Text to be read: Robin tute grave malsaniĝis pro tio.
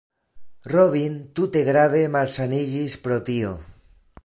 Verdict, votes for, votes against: accepted, 2, 0